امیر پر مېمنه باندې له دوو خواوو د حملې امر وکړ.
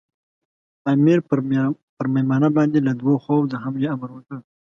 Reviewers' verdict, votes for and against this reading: accepted, 2, 0